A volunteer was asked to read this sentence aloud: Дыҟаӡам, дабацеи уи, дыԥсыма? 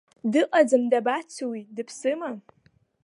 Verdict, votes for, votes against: accepted, 2, 1